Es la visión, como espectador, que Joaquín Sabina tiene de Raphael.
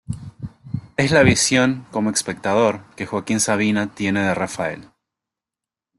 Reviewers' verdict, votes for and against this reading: accepted, 2, 0